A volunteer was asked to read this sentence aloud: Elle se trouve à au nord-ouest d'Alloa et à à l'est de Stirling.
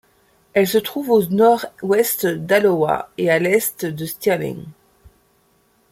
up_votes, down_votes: 1, 2